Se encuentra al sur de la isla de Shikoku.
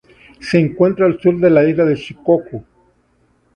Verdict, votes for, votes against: accepted, 2, 0